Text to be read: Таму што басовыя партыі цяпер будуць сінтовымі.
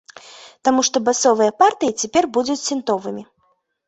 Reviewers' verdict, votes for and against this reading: accepted, 3, 0